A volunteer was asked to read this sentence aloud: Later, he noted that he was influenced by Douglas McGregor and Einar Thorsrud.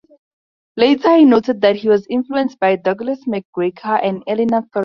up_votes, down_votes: 2, 4